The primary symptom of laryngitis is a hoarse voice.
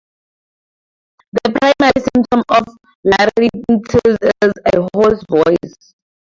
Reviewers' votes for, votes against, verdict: 0, 2, rejected